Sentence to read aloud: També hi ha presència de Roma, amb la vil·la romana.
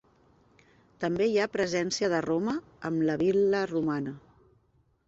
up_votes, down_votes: 0, 2